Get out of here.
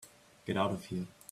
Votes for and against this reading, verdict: 3, 0, accepted